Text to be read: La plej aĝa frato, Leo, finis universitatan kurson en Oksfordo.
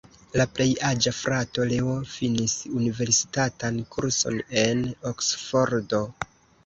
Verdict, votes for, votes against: rejected, 0, 2